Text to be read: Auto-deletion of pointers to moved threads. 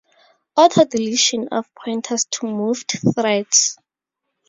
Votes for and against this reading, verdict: 0, 2, rejected